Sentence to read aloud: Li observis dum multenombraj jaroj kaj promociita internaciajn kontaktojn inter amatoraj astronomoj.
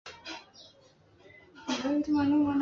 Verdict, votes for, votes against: rejected, 2, 3